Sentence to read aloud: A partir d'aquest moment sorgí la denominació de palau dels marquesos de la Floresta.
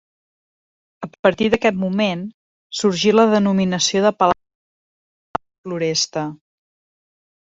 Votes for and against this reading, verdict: 0, 2, rejected